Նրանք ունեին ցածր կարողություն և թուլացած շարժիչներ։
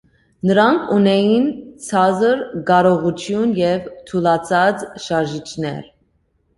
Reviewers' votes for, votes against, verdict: 2, 0, accepted